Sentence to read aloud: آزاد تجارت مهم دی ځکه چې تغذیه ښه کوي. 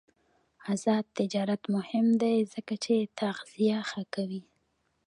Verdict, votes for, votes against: accepted, 2, 1